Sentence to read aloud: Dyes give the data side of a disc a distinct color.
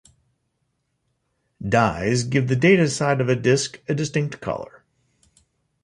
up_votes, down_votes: 2, 1